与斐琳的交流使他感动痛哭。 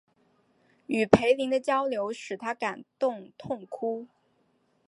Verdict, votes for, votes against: rejected, 0, 2